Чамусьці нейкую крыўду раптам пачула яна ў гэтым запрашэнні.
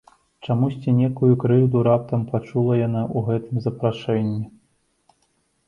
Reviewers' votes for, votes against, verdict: 1, 2, rejected